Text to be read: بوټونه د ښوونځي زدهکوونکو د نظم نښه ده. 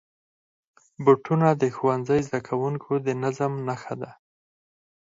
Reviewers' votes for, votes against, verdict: 0, 4, rejected